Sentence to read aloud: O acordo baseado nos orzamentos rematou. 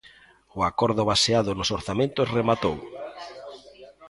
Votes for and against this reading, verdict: 2, 1, accepted